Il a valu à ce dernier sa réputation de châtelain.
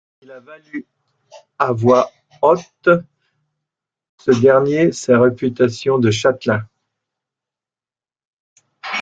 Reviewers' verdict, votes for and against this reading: rejected, 0, 2